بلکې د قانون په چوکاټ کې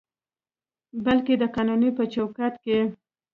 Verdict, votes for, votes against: accepted, 2, 1